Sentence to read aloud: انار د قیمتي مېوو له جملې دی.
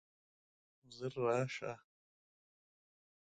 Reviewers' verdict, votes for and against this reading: rejected, 0, 2